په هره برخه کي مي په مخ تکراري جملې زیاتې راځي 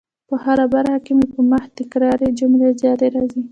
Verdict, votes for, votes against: rejected, 1, 2